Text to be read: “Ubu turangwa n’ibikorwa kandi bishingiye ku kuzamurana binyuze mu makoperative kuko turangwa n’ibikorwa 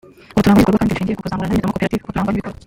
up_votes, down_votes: 0, 2